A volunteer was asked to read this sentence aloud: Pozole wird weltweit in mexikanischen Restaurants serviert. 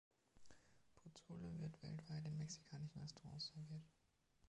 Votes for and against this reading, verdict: 0, 2, rejected